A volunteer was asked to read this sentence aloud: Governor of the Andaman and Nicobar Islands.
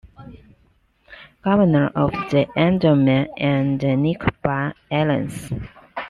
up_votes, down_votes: 2, 0